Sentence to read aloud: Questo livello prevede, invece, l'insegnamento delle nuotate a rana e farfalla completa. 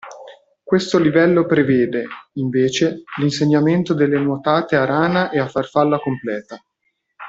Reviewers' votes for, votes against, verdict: 0, 2, rejected